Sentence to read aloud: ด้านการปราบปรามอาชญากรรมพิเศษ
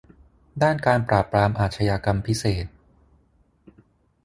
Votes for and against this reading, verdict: 6, 0, accepted